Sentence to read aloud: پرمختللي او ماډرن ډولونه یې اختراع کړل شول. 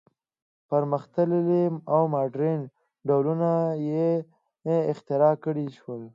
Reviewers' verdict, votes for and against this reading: accepted, 2, 0